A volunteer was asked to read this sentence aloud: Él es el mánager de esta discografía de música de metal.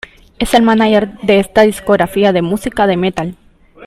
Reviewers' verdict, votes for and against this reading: rejected, 0, 2